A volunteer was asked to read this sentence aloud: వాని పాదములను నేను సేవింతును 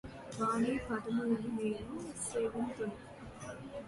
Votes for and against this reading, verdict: 2, 0, accepted